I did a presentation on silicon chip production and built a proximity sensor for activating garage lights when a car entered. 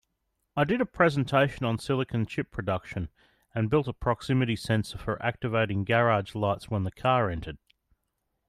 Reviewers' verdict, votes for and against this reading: rejected, 1, 2